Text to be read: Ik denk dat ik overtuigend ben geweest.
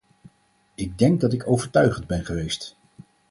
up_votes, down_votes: 4, 0